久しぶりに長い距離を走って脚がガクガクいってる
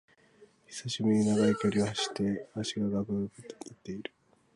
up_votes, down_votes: 1, 3